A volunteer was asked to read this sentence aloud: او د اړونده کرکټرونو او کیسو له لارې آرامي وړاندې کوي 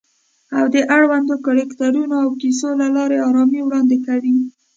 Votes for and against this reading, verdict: 1, 2, rejected